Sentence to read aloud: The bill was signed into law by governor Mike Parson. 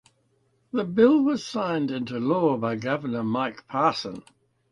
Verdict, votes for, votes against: accepted, 2, 0